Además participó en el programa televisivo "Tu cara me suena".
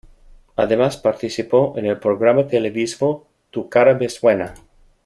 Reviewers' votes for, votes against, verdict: 0, 2, rejected